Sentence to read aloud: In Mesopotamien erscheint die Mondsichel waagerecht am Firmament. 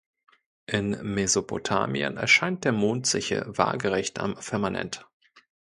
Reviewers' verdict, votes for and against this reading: rejected, 1, 2